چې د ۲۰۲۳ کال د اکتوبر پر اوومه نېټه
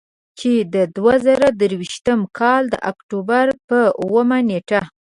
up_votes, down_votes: 0, 2